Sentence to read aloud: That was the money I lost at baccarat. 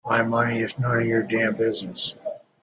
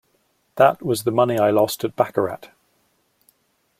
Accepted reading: second